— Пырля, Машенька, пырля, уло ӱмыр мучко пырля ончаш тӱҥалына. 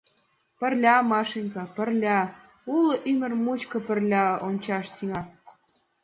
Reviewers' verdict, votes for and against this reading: rejected, 1, 2